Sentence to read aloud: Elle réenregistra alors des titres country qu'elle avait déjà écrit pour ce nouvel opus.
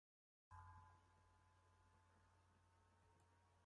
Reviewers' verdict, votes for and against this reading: rejected, 0, 2